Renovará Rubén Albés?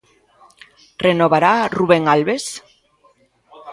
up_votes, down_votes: 1, 2